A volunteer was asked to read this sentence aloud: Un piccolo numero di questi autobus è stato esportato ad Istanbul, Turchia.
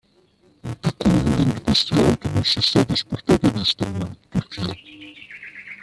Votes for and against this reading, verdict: 0, 2, rejected